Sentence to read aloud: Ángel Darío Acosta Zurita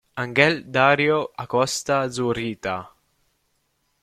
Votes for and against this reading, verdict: 1, 2, rejected